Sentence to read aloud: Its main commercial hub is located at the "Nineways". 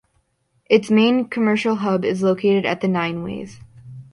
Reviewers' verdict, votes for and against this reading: accepted, 2, 0